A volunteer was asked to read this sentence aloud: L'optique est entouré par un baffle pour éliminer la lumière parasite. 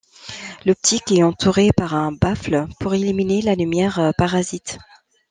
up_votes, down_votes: 1, 2